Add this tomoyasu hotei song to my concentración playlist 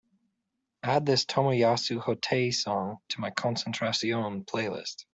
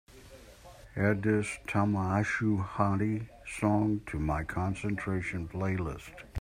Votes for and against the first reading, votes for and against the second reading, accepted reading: 4, 1, 1, 2, first